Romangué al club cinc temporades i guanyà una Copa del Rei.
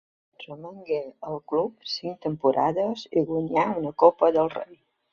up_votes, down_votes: 2, 0